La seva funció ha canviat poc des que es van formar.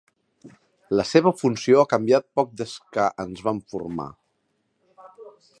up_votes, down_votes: 1, 2